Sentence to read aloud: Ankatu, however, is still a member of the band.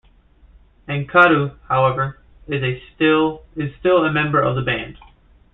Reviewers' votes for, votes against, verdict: 0, 2, rejected